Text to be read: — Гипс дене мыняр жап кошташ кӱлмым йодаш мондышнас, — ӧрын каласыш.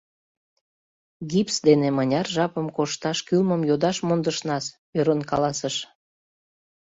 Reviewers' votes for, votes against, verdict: 0, 2, rejected